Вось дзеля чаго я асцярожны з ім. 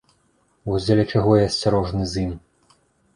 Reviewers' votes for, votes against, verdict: 2, 0, accepted